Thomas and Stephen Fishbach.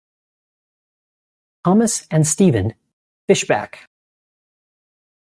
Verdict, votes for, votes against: accepted, 2, 0